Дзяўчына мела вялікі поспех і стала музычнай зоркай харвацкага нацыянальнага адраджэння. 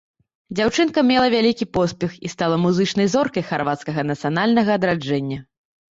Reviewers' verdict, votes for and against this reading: rejected, 0, 2